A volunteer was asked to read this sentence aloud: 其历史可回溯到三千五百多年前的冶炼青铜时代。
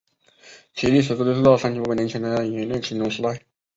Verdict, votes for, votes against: rejected, 0, 2